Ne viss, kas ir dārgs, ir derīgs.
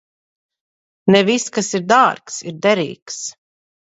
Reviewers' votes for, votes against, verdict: 2, 0, accepted